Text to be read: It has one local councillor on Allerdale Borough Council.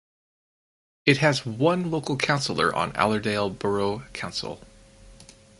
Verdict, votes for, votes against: accepted, 4, 0